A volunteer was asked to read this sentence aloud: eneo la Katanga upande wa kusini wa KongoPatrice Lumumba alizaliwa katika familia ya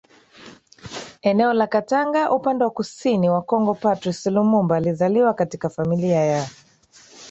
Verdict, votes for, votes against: accepted, 3, 1